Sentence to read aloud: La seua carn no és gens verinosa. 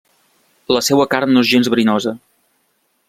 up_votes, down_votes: 2, 0